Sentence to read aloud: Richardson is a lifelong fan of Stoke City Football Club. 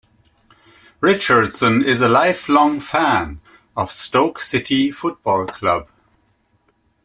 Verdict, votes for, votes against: accepted, 2, 0